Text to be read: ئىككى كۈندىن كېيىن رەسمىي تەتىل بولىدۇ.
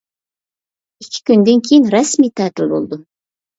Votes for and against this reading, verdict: 2, 0, accepted